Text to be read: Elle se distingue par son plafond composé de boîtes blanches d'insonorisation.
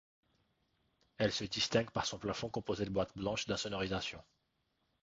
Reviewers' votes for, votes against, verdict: 2, 0, accepted